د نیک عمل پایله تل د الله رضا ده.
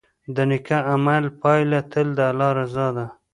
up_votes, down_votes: 2, 1